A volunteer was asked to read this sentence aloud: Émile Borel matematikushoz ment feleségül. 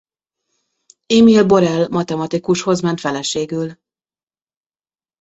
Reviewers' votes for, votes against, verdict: 2, 0, accepted